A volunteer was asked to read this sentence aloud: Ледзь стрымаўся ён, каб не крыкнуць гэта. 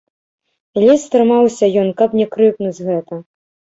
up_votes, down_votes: 1, 3